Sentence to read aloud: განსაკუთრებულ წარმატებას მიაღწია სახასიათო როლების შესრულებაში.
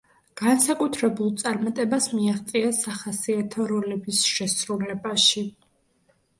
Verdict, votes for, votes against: accepted, 3, 0